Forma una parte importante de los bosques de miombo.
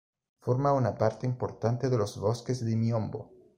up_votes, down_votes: 2, 0